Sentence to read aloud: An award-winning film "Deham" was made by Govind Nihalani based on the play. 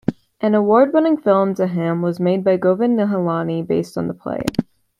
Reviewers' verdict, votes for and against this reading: accepted, 2, 0